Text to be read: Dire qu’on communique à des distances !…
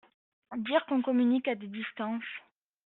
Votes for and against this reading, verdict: 2, 0, accepted